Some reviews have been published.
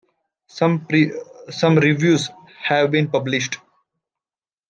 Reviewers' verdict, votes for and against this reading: rejected, 0, 2